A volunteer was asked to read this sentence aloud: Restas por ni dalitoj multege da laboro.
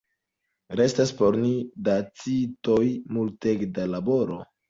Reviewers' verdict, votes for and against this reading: rejected, 1, 2